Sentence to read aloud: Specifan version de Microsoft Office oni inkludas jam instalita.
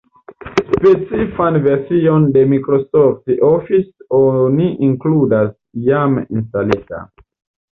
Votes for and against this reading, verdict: 2, 0, accepted